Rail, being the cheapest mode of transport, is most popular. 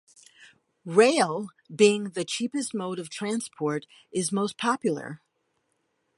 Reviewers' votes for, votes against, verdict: 2, 0, accepted